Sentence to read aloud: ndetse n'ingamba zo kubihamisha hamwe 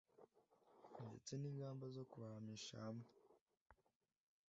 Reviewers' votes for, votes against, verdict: 2, 0, accepted